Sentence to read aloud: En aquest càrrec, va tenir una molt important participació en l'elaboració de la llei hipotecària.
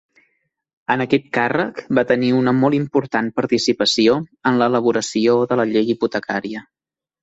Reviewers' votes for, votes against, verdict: 2, 0, accepted